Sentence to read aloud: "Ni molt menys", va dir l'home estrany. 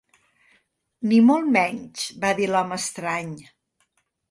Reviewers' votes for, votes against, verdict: 2, 0, accepted